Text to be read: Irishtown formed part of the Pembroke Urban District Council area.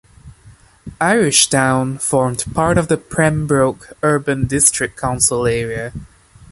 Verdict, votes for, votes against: accepted, 2, 0